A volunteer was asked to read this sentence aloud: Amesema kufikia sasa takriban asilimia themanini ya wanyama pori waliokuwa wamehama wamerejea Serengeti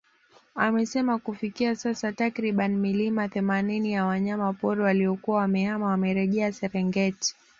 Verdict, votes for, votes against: rejected, 1, 2